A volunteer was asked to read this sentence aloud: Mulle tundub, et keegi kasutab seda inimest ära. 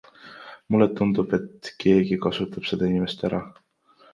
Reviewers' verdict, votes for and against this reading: accepted, 2, 0